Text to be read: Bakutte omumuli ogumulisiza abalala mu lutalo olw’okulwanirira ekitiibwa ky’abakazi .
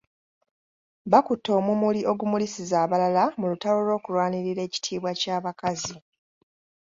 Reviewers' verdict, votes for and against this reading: accepted, 2, 0